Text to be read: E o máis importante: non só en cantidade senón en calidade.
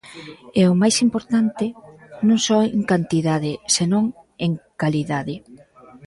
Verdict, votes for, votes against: rejected, 0, 2